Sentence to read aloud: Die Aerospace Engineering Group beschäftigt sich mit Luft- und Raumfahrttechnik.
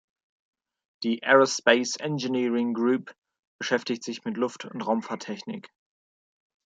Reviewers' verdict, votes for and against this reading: accepted, 2, 0